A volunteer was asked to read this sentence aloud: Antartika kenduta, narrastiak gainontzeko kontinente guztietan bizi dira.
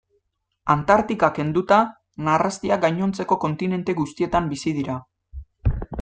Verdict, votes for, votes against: accepted, 2, 0